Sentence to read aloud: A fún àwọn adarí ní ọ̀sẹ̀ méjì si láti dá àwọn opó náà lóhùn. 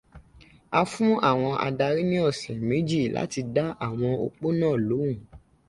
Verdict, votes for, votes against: rejected, 1, 2